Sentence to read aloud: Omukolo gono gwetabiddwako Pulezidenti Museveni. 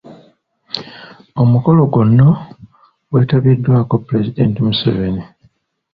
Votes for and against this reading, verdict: 2, 0, accepted